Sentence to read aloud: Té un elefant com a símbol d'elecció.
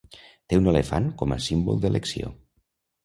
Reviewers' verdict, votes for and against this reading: accepted, 3, 0